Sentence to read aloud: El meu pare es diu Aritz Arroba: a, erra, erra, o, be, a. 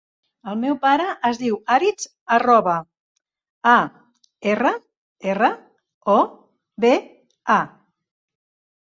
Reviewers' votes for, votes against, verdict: 3, 0, accepted